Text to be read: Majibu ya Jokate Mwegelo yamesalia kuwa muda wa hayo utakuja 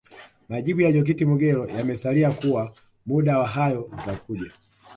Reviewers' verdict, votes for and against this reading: rejected, 0, 2